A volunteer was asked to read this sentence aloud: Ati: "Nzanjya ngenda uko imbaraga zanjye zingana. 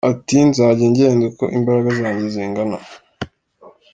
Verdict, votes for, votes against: accepted, 2, 0